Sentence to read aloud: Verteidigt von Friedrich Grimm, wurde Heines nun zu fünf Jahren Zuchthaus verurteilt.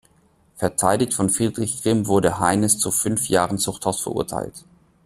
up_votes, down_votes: 2, 0